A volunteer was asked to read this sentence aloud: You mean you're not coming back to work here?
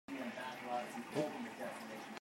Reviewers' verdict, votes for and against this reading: rejected, 0, 2